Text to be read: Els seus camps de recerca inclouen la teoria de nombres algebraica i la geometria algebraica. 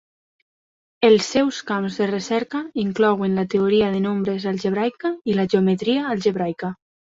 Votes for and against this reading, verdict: 3, 0, accepted